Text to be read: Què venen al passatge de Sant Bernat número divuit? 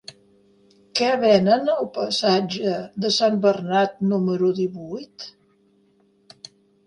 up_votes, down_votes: 3, 0